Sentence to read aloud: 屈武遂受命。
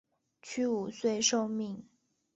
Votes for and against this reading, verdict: 3, 0, accepted